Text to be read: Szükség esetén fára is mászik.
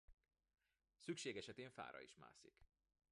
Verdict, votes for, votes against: accepted, 2, 1